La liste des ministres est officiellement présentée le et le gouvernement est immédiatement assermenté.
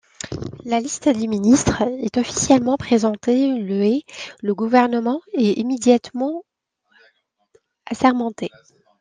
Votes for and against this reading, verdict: 1, 2, rejected